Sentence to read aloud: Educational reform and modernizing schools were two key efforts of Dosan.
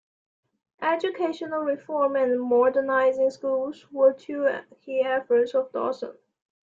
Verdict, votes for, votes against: accepted, 2, 0